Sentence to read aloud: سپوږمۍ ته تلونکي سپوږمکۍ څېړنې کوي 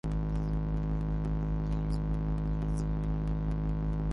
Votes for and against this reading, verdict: 0, 2, rejected